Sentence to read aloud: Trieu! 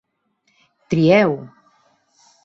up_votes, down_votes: 3, 0